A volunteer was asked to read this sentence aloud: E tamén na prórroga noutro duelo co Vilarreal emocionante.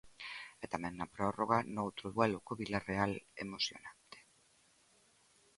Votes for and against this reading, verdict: 2, 0, accepted